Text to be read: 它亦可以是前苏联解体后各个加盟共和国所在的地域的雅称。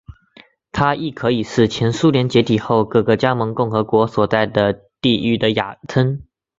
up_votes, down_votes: 2, 0